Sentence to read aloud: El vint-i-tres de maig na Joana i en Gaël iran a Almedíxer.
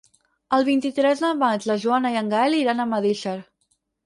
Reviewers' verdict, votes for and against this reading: rejected, 2, 4